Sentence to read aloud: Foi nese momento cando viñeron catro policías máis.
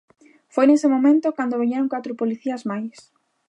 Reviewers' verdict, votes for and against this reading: accepted, 2, 0